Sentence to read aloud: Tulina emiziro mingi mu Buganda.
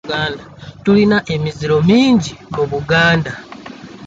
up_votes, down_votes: 2, 0